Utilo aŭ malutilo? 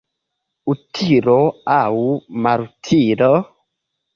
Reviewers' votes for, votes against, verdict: 2, 0, accepted